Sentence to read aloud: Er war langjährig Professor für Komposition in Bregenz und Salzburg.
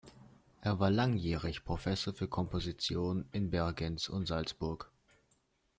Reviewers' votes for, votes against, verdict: 1, 2, rejected